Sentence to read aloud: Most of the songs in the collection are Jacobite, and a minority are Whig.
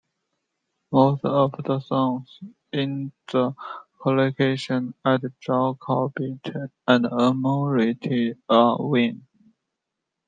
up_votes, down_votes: 0, 2